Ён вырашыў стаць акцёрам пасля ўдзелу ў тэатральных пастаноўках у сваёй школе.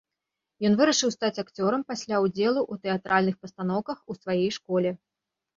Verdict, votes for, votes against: rejected, 0, 2